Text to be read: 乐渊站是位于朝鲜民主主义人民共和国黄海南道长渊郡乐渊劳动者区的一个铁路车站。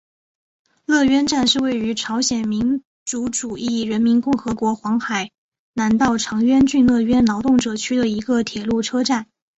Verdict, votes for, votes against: accepted, 4, 1